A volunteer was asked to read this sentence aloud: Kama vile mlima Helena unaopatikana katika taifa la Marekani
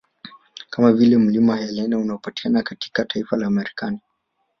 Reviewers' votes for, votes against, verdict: 2, 1, accepted